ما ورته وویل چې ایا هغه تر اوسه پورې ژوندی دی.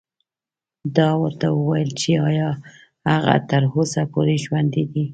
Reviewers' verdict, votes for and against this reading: rejected, 1, 2